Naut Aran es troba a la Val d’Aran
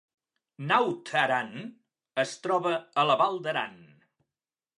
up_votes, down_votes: 3, 0